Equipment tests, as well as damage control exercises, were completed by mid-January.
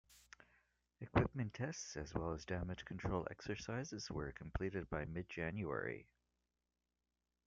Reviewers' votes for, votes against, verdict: 1, 2, rejected